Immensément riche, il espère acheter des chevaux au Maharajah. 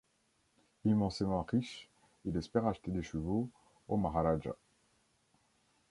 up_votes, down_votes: 0, 2